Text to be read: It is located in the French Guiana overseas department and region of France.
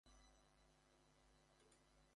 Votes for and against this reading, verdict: 0, 2, rejected